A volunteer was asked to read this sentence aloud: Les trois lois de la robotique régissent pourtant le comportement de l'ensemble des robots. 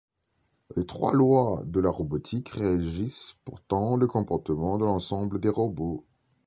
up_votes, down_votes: 2, 0